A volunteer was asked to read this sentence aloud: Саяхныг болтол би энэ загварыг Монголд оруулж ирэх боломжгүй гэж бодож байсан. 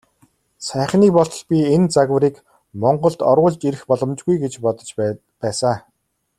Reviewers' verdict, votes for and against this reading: rejected, 1, 2